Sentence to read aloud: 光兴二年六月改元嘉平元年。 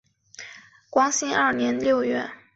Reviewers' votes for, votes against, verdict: 0, 2, rejected